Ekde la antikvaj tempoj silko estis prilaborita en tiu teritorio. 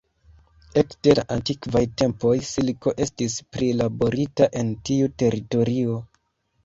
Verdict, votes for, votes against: accepted, 2, 0